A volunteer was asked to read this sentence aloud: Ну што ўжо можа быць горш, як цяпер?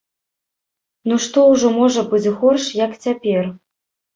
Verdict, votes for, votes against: accepted, 3, 0